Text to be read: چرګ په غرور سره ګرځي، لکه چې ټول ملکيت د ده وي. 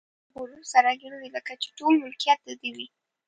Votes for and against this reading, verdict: 0, 3, rejected